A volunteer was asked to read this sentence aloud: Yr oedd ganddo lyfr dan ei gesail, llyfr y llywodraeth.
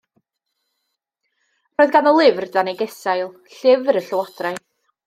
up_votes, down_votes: 1, 2